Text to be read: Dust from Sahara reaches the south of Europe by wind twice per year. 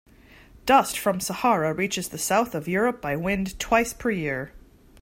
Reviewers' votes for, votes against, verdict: 2, 0, accepted